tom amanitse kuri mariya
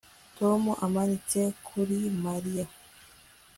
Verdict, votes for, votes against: accepted, 2, 0